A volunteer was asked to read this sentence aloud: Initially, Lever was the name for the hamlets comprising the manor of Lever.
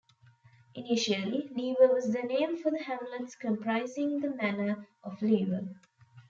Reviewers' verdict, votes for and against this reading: rejected, 1, 2